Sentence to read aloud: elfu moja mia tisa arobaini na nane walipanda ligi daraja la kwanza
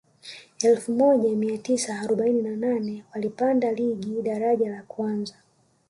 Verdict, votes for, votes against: accepted, 2, 1